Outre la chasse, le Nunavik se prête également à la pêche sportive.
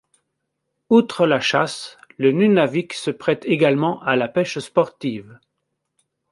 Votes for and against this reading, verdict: 2, 0, accepted